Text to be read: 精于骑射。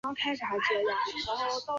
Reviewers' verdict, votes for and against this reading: rejected, 2, 3